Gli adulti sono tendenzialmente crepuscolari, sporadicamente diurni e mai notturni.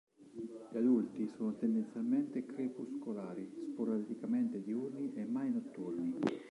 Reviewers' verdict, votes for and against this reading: rejected, 1, 2